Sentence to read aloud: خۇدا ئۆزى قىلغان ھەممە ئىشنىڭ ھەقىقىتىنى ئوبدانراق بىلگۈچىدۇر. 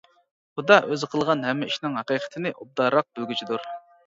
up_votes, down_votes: 1, 2